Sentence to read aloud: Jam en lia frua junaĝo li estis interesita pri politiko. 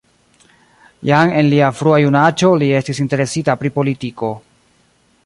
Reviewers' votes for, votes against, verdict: 2, 1, accepted